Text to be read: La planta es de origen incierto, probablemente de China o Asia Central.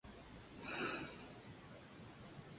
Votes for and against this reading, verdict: 2, 2, rejected